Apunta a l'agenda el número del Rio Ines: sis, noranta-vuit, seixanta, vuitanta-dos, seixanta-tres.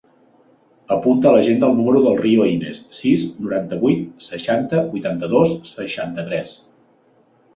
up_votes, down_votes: 4, 0